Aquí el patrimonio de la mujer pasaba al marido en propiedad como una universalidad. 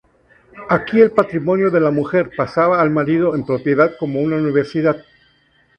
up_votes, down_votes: 0, 2